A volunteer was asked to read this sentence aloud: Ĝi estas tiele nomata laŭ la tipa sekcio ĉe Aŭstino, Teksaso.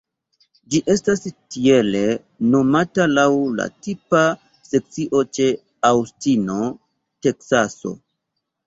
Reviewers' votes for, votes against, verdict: 2, 0, accepted